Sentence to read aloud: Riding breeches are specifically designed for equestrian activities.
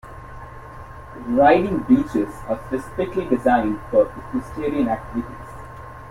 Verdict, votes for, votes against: rejected, 1, 2